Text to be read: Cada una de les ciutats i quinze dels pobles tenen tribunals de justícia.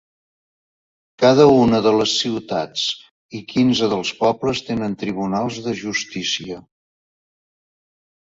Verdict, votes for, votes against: accepted, 4, 1